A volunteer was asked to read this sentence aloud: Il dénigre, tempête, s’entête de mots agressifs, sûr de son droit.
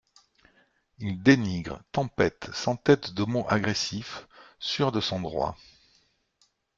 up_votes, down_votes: 2, 0